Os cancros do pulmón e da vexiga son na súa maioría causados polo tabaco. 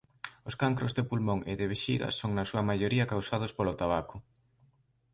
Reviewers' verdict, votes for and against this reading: rejected, 1, 2